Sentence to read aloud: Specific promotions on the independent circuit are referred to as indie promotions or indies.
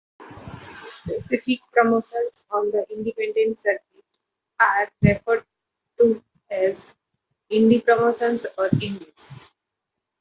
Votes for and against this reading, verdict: 0, 2, rejected